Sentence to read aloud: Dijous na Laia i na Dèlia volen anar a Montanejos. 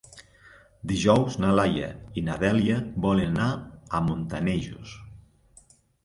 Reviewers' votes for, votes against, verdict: 1, 2, rejected